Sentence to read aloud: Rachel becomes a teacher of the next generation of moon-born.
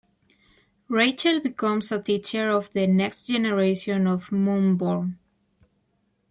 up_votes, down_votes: 1, 2